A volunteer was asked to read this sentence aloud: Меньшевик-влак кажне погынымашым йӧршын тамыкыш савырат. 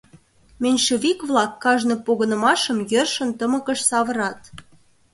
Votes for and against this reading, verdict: 0, 2, rejected